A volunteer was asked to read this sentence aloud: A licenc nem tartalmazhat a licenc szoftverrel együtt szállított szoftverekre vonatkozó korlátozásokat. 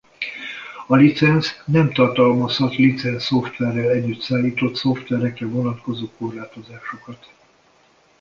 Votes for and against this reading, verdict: 1, 2, rejected